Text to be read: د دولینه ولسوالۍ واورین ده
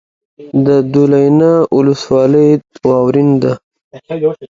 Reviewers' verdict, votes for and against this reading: accepted, 2, 0